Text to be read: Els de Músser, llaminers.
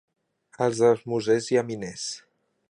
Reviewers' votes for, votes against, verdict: 1, 2, rejected